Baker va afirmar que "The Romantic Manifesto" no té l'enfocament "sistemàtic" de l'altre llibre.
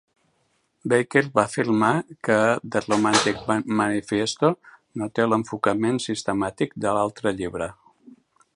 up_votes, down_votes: 1, 2